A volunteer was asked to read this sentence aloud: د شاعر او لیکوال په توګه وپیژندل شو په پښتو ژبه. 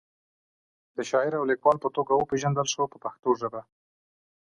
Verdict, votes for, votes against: accepted, 2, 0